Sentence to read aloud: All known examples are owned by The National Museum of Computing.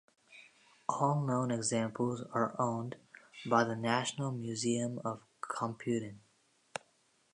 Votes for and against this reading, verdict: 2, 0, accepted